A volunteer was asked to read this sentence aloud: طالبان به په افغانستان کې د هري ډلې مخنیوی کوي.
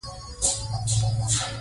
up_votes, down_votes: 0, 2